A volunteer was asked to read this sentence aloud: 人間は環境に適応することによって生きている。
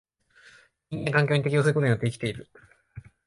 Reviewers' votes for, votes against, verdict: 0, 2, rejected